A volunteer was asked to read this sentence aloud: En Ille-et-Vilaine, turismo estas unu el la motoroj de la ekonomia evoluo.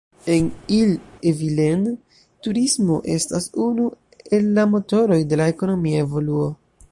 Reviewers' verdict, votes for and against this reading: accepted, 2, 1